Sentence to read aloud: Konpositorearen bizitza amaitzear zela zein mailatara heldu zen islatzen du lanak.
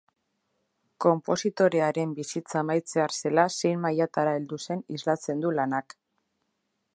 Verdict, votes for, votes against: accepted, 4, 0